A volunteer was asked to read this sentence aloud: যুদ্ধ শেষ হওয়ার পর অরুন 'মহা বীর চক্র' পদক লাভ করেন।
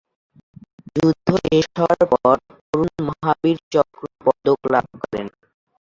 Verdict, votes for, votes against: rejected, 0, 2